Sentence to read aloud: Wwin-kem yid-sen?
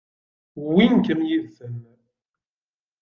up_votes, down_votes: 0, 2